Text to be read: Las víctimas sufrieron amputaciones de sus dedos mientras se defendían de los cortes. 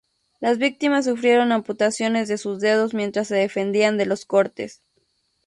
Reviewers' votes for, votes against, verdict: 0, 2, rejected